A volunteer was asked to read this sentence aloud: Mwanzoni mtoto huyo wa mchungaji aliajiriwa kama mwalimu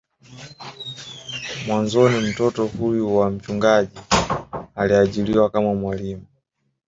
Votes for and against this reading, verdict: 2, 0, accepted